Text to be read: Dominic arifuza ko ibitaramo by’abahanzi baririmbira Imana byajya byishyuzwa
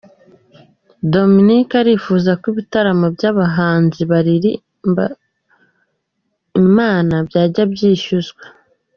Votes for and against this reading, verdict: 1, 2, rejected